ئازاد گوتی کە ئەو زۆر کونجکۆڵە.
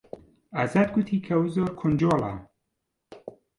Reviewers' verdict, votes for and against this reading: rejected, 0, 2